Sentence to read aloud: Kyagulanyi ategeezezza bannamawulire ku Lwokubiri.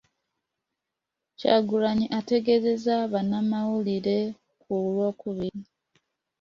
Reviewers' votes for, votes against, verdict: 2, 1, accepted